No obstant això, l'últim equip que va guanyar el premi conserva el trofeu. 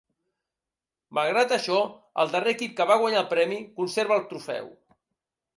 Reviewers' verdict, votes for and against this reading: rejected, 0, 2